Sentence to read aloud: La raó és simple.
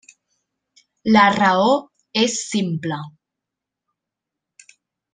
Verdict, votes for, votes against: rejected, 1, 2